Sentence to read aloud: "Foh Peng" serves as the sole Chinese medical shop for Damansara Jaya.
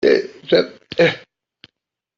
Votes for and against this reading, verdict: 0, 2, rejected